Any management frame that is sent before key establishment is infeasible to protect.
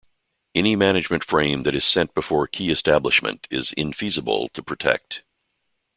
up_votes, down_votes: 2, 0